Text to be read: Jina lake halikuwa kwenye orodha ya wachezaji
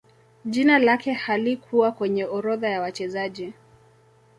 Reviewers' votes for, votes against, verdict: 1, 2, rejected